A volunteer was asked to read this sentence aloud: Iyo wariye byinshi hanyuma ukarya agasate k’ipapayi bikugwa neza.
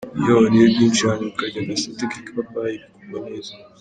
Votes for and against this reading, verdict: 1, 2, rejected